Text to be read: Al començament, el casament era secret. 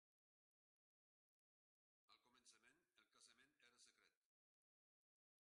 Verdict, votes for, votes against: rejected, 0, 2